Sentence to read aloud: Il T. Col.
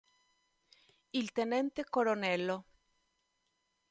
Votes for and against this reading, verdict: 0, 2, rejected